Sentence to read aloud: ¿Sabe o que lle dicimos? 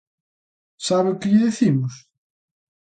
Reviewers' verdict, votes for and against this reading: accepted, 2, 1